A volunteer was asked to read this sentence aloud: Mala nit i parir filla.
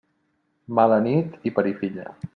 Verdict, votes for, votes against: accepted, 2, 0